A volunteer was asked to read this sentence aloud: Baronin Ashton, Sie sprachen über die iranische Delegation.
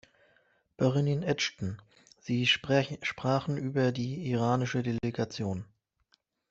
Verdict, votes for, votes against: rejected, 0, 2